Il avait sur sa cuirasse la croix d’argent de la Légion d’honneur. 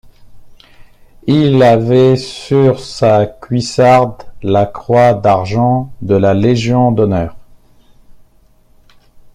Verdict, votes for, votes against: rejected, 0, 2